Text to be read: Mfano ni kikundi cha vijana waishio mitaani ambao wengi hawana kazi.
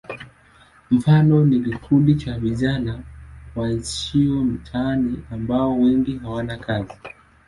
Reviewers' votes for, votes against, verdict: 2, 0, accepted